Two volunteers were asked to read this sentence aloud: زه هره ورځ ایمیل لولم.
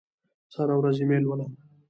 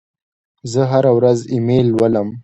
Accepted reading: second